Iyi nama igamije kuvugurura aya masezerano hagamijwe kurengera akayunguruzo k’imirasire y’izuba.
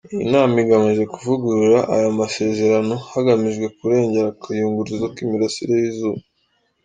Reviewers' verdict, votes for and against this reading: accepted, 2, 0